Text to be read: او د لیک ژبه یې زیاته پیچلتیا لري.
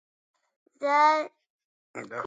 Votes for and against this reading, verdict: 1, 2, rejected